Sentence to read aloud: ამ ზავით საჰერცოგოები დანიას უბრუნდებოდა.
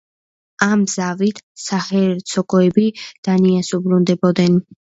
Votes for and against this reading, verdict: 0, 2, rejected